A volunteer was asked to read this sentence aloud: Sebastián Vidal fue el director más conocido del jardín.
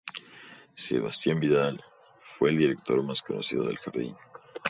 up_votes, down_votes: 2, 0